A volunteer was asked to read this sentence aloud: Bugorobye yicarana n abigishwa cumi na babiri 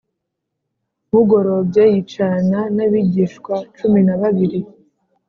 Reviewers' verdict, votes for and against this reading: accepted, 3, 0